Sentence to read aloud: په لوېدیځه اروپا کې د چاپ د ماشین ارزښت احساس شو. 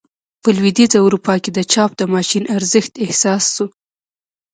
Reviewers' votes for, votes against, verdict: 1, 2, rejected